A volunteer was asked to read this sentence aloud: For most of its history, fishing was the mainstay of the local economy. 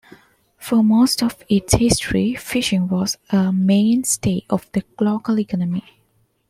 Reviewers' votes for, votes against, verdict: 1, 2, rejected